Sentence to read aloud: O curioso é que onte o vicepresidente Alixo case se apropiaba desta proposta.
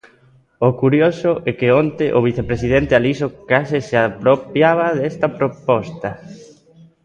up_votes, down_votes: 2, 0